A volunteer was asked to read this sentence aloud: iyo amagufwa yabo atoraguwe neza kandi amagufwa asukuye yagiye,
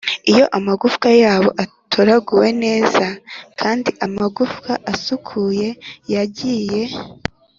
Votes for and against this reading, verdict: 3, 0, accepted